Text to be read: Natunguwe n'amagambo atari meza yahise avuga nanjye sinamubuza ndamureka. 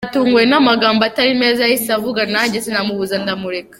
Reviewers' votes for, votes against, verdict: 2, 1, accepted